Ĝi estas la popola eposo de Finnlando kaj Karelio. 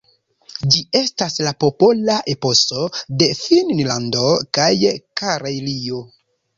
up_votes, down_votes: 2, 1